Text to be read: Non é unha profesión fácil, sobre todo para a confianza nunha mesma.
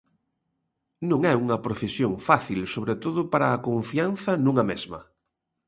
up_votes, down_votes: 2, 0